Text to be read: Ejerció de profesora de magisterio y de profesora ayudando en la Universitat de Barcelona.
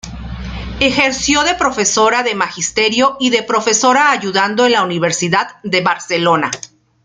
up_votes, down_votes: 1, 2